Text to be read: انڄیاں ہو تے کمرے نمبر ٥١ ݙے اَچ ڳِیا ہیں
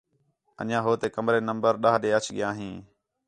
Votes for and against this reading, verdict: 0, 2, rejected